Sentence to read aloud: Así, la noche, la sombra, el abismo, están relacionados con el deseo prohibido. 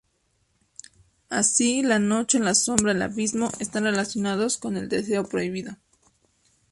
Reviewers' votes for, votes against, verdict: 2, 0, accepted